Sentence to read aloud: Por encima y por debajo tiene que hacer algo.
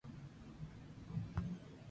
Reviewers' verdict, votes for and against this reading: rejected, 0, 2